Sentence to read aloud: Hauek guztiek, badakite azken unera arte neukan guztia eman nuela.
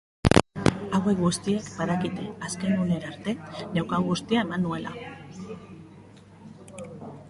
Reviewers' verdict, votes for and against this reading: rejected, 0, 2